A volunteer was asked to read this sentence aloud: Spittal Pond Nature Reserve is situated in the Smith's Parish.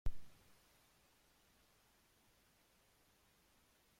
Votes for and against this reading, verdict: 1, 2, rejected